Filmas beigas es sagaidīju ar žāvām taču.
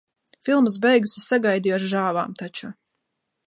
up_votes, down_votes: 2, 0